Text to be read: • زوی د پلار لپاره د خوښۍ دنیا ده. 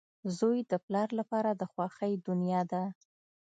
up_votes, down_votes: 2, 0